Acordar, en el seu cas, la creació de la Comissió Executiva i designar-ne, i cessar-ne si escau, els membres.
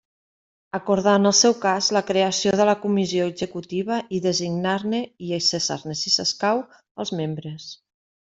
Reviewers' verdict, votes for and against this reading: rejected, 1, 2